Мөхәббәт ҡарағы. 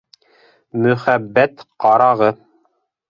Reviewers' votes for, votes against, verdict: 2, 0, accepted